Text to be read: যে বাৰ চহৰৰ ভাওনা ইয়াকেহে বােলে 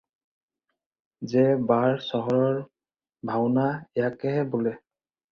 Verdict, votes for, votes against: rejected, 0, 4